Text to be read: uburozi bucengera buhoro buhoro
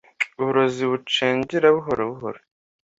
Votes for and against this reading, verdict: 2, 0, accepted